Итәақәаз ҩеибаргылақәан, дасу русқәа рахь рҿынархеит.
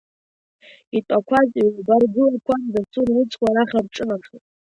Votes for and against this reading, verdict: 1, 2, rejected